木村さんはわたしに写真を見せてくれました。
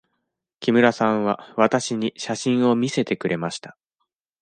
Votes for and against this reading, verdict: 2, 0, accepted